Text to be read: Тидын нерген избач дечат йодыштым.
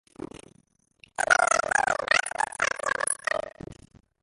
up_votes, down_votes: 0, 2